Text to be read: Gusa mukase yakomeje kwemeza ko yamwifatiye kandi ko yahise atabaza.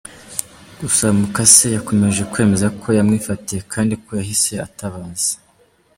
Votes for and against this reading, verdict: 1, 2, rejected